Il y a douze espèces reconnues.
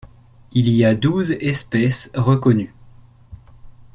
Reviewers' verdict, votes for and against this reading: accepted, 2, 0